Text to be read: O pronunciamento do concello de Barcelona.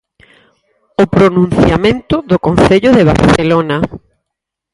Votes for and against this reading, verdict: 4, 2, accepted